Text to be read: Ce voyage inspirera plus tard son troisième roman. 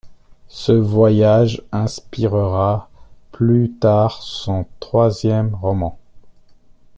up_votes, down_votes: 1, 2